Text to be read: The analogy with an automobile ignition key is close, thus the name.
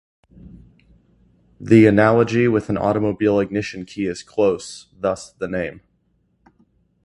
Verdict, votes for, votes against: accepted, 2, 0